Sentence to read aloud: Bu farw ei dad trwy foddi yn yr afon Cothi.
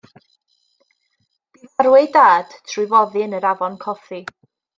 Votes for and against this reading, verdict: 1, 2, rejected